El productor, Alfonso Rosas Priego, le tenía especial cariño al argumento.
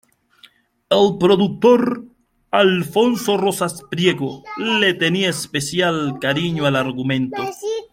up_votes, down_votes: 2, 0